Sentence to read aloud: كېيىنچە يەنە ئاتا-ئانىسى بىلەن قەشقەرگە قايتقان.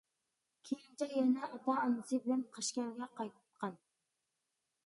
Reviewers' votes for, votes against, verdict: 1, 2, rejected